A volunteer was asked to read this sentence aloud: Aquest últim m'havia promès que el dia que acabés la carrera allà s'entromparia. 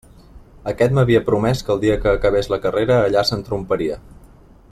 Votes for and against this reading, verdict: 0, 2, rejected